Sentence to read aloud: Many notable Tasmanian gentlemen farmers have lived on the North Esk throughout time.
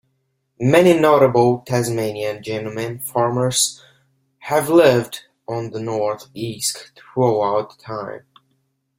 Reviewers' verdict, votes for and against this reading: accepted, 3, 2